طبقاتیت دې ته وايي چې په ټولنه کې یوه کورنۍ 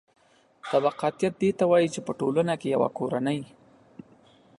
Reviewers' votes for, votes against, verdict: 2, 0, accepted